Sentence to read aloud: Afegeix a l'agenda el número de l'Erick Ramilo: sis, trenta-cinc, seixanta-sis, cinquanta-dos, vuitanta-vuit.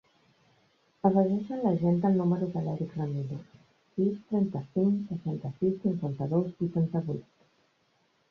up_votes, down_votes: 1, 2